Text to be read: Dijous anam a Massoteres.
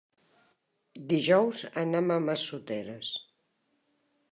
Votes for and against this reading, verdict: 3, 0, accepted